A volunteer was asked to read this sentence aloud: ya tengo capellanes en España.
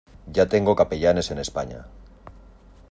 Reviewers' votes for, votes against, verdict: 2, 0, accepted